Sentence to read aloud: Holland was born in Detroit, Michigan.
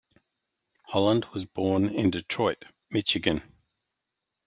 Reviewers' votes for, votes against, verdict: 2, 1, accepted